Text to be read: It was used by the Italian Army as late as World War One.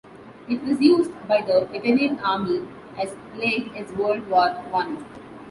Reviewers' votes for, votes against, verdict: 2, 1, accepted